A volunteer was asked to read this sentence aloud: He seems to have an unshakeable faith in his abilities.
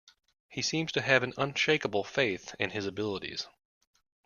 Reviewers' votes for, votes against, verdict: 2, 0, accepted